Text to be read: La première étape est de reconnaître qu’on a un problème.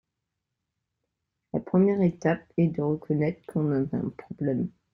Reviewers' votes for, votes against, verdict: 0, 2, rejected